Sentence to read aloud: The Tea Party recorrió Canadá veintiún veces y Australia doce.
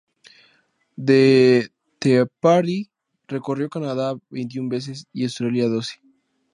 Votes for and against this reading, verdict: 2, 0, accepted